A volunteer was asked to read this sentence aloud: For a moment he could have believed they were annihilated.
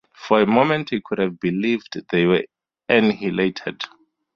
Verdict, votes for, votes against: rejected, 2, 2